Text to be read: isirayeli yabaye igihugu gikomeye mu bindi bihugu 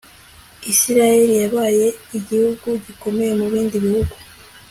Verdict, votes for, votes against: accepted, 2, 0